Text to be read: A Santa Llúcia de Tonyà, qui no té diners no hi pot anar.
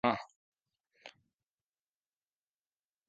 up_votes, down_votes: 0, 2